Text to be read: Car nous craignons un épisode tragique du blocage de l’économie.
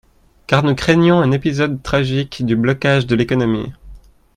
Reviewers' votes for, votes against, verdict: 2, 0, accepted